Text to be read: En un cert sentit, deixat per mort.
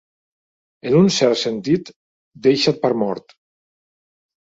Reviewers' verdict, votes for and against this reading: accepted, 3, 0